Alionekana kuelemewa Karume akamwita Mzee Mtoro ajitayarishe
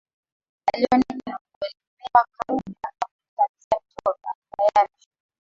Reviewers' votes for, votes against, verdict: 1, 2, rejected